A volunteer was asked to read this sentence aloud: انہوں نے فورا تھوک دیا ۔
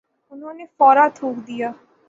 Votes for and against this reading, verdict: 3, 0, accepted